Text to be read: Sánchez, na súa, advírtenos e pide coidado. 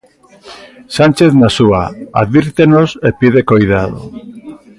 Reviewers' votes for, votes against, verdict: 0, 2, rejected